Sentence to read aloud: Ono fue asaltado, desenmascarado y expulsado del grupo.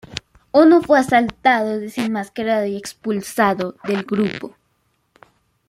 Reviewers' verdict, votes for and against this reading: accepted, 2, 0